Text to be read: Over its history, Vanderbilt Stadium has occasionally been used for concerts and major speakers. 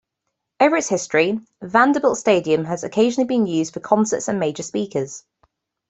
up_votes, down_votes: 2, 1